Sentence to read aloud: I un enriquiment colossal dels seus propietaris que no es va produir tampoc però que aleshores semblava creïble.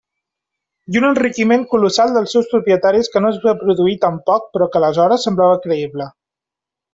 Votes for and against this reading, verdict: 2, 0, accepted